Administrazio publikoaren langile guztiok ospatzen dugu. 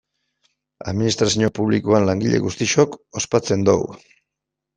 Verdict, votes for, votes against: rejected, 0, 2